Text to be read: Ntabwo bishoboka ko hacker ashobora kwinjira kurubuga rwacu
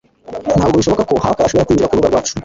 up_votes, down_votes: 1, 2